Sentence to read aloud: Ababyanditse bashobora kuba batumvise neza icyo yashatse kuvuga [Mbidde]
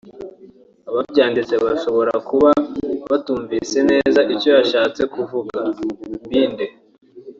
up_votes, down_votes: 3, 0